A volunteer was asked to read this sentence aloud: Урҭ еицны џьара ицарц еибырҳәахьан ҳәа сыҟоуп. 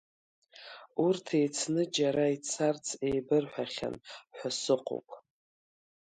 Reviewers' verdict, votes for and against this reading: accepted, 3, 1